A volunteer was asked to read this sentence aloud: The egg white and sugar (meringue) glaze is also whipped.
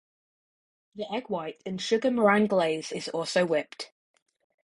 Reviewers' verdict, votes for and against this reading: accepted, 4, 0